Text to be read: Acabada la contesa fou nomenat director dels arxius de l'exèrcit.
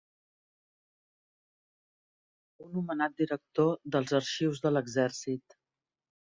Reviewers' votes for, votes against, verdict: 0, 2, rejected